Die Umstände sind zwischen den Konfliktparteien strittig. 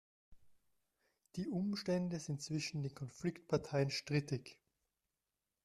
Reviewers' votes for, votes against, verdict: 1, 2, rejected